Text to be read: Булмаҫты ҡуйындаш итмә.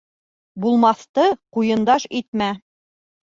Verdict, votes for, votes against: accepted, 2, 0